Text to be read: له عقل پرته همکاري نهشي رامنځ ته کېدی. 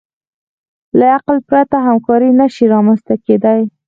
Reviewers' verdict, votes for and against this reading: rejected, 2, 4